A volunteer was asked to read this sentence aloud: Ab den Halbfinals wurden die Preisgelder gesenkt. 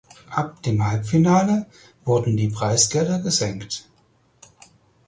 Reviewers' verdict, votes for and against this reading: rejected, 0, 4